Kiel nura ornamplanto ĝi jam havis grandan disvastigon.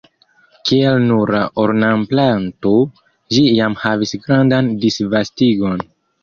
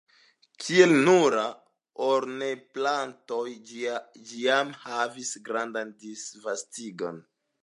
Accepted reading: first